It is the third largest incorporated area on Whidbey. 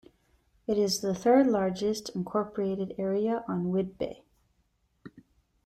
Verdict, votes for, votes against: accepted, 2, 0